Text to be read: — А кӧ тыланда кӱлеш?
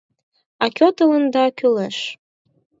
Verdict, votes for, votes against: accepted, 4, 0